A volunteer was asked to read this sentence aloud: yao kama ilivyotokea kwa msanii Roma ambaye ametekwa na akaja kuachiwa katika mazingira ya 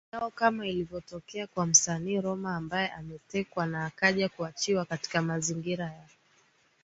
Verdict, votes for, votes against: accepted, 2, 0